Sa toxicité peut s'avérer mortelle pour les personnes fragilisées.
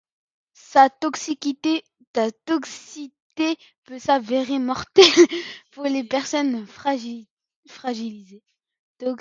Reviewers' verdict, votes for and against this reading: rejected, 0, 2